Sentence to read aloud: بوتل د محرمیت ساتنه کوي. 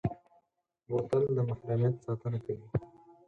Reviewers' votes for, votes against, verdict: 2, 4, rejected